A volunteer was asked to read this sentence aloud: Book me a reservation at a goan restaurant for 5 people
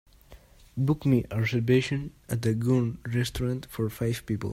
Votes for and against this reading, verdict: 0, 2, rejected